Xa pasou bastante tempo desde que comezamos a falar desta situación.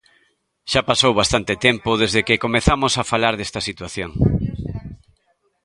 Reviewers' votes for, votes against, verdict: 0, 2, rejected